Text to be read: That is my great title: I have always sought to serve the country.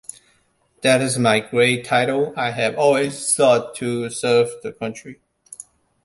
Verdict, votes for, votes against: accepted, 2, 0